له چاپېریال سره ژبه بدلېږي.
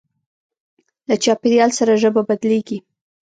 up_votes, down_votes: 1, 2